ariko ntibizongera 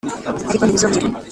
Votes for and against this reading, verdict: 0, 2, rejected